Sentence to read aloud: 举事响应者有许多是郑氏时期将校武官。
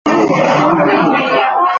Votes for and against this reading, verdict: 0, 2, rejected